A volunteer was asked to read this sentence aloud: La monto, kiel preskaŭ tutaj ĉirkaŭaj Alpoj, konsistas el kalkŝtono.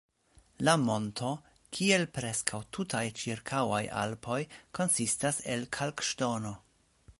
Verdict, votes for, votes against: accepted, 2, 0